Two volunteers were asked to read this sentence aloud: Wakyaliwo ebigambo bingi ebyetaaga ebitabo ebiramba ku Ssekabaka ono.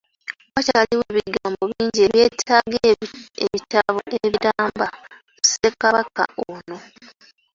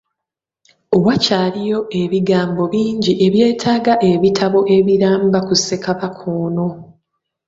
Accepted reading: second